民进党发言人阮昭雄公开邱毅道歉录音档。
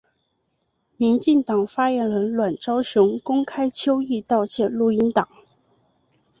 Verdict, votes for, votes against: accepted, 3, 0